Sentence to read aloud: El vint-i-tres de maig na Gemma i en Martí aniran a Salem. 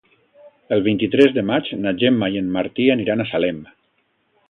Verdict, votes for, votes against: accepted, 2, 0